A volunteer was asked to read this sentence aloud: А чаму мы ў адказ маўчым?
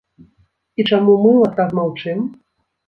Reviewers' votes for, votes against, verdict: 1, 2, rejected